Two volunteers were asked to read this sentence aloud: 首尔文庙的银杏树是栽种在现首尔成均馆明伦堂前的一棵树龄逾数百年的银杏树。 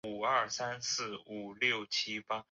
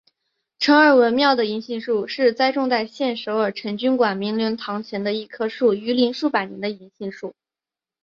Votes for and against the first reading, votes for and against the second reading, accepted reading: 0, 2, 2, 1, second